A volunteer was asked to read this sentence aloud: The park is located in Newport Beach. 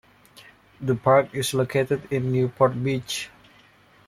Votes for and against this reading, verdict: 2, 1, accepted